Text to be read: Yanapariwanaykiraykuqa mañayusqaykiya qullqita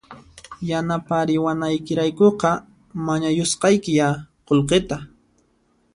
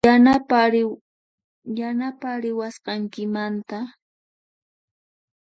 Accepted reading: first